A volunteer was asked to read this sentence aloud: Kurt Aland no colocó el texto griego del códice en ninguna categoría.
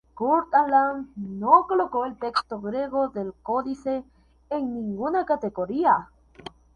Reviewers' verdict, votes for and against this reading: accepted, 2, 0